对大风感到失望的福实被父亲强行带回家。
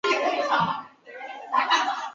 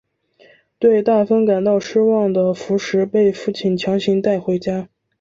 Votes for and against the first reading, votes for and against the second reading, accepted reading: 0, 5, 2, 0, second